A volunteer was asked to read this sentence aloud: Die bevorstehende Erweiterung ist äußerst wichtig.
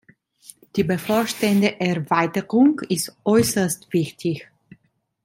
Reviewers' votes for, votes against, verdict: 2, 0, accepted